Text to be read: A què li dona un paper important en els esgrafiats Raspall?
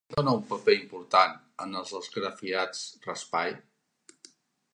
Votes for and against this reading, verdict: 0, 2, rejected